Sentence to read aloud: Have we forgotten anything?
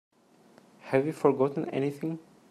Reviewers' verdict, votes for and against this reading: accepted, 3, 0